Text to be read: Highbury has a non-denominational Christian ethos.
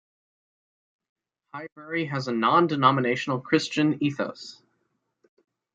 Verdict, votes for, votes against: rejected, 1, 2